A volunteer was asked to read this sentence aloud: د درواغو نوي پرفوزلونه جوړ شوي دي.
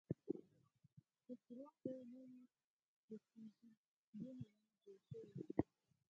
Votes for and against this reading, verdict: 2, 4, rejected